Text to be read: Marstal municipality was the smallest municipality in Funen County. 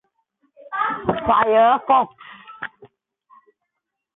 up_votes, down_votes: 0, 2